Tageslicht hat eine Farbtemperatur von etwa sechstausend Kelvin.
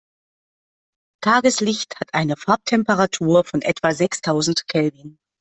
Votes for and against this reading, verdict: 2, 0, accepted